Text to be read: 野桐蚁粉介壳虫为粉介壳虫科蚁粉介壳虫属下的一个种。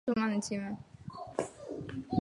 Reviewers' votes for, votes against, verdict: 1, 2, rejected